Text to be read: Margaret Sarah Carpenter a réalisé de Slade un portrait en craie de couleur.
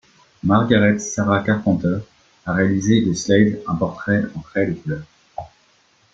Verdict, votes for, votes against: accepted, 2, 1